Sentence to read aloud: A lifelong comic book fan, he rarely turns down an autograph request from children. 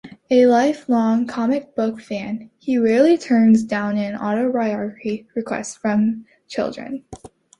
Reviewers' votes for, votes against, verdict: 2, 1, accepted